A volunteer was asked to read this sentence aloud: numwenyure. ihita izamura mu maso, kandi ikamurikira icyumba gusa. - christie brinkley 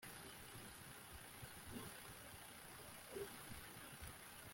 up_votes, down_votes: 0, 2